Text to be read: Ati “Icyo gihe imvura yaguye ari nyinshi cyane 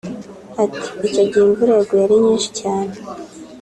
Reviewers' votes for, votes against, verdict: 2, 0, accepted